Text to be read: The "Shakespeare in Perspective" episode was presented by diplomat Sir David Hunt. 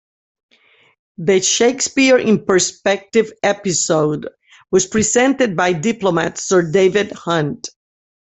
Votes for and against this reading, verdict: 2, 0, accepted